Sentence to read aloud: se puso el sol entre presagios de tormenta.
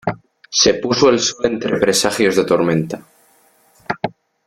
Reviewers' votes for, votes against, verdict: 0, 2, rejected